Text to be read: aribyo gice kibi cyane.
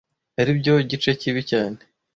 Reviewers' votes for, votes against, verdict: 2, 0, accepted